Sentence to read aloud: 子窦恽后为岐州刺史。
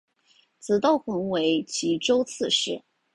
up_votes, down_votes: 3, 0